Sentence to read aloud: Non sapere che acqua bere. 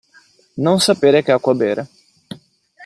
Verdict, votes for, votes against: accepted, 2, 0